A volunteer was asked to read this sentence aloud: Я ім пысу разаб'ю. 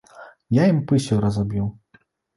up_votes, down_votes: 1, 2